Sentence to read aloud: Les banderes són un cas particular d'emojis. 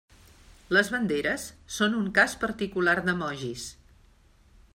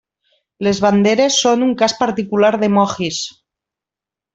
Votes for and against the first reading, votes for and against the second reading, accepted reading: 2, 0, 1, 2, first